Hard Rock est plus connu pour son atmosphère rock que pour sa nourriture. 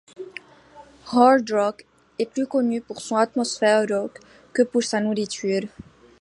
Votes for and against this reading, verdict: 1, 2, rejected